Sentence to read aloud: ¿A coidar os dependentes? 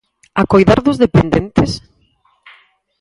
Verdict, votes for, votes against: rejected, 2, 4